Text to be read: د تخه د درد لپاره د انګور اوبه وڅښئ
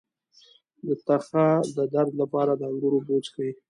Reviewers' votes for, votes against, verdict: 2, 0, accepted